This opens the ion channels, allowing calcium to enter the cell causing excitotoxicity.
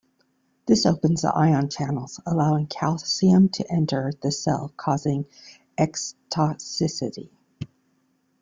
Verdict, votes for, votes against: rejected, 1, 2